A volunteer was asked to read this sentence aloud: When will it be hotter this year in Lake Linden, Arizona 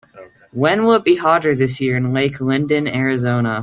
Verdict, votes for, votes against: accepted, 2, 0